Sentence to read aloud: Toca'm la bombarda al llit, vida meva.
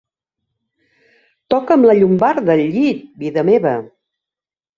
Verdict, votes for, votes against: rejected, 2, 3